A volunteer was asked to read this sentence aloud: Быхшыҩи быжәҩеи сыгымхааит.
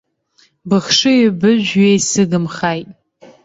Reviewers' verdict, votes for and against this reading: rejected, 0, 2